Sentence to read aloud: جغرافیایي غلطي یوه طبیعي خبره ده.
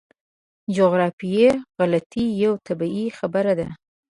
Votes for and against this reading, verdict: 2, 1, accepted